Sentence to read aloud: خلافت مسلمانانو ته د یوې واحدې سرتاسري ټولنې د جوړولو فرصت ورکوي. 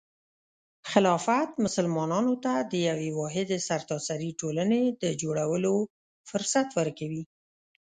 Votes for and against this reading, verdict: 2, 0, accepted